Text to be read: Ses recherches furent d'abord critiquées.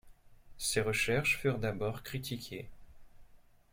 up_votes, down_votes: 2, 0